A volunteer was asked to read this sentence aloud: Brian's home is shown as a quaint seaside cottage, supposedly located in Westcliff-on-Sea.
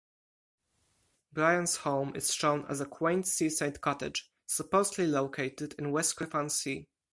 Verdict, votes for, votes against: accepted, 4, 2